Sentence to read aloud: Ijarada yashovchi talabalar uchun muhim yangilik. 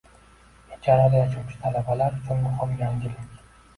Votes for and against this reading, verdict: 2, 1, accepted